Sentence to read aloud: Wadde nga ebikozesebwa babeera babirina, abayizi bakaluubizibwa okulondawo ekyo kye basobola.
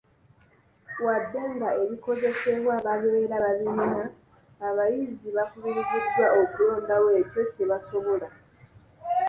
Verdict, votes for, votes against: rejected, 1, 2